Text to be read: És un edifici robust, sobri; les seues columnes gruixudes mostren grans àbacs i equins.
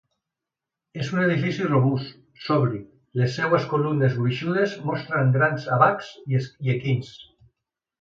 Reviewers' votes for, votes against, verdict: 0, 2, rejected